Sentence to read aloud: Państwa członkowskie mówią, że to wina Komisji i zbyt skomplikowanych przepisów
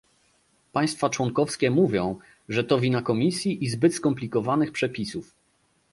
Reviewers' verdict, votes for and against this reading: accepted, 2, 0